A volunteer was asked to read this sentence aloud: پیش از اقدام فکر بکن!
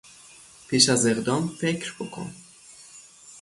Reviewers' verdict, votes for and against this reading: accepted, 6, 0